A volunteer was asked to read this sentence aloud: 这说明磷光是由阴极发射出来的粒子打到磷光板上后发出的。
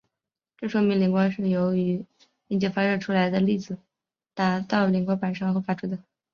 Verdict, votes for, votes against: rejected, 2, 3